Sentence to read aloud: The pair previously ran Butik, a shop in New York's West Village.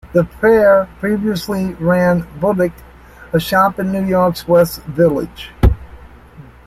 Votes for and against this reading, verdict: 2, 1, accepted